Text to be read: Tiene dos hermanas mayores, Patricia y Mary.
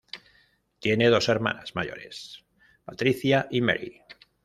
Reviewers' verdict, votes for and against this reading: rejected, 1, 2